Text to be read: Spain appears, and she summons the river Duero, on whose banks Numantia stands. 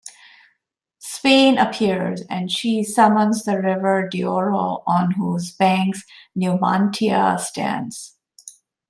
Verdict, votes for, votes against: rejected, 1, 2